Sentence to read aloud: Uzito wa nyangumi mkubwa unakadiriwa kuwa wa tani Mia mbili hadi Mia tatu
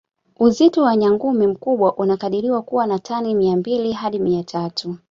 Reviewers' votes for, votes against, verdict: 2, 0, accepted